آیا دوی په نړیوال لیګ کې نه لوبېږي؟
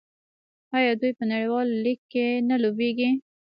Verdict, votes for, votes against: rejected, 1, 2